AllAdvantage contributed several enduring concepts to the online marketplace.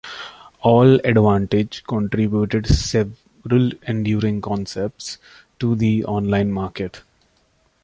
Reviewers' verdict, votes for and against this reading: rejected, 0, 2